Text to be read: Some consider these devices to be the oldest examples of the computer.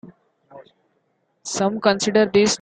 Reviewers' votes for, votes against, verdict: 0, 2, rejected